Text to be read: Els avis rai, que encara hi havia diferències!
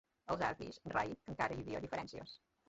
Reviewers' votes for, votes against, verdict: 2, 1, accepted